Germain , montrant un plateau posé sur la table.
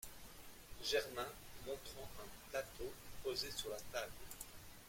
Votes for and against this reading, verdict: 1, 2, rejected